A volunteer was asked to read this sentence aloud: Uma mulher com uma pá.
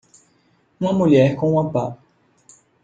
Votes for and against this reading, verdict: 2, 1, accepted